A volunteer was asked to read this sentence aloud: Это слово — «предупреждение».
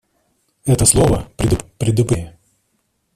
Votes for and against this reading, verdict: 0, 2, rejected